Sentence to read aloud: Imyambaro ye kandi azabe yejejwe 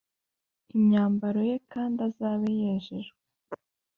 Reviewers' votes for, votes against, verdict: 3, 0, accepted